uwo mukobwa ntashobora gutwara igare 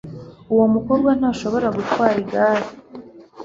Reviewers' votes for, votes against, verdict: 2, 0, accepted